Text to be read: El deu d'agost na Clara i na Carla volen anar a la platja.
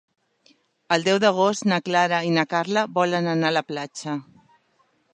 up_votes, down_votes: 3, 0